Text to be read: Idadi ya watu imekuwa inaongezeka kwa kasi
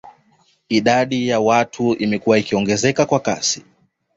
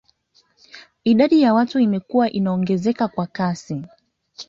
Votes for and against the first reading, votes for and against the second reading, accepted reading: 2, 0, 1, 2, first